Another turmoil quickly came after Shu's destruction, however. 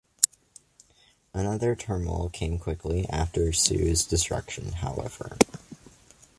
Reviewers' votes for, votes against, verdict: 1, 2, rejected